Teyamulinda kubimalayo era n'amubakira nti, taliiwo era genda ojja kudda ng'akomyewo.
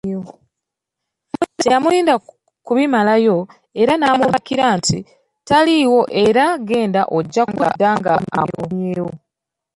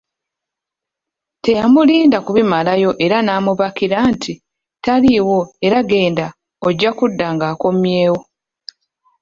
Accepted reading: second